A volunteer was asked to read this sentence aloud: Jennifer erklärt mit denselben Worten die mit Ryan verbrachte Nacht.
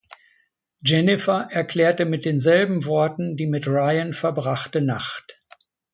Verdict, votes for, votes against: rejected, 0, 2